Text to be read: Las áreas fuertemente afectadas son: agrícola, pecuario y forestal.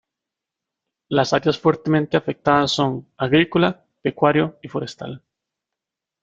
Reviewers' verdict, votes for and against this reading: accepted, 3, 0